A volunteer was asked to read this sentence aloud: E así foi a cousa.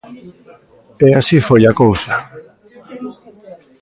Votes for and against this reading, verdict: 1, 2, rejected